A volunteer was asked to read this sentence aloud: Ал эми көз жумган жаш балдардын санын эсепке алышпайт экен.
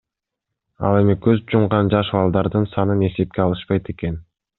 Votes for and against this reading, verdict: 2, 0, accepted